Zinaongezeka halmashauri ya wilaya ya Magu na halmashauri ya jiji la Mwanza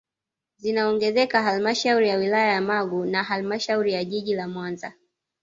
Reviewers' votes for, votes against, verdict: 2, 0, accepted